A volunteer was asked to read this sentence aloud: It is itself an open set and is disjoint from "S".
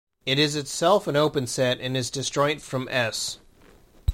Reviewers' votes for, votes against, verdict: 2, 0, accepted